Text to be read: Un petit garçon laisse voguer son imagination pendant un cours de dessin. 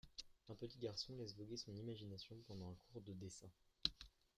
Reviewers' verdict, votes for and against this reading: accepted, 2, 1